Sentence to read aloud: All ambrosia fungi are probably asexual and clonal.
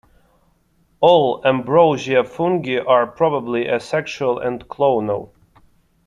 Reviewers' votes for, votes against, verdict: 2, 0, accepted